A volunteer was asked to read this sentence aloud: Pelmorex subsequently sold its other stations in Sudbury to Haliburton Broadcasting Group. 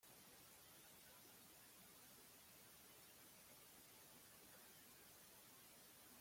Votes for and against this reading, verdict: 0, 2, rejected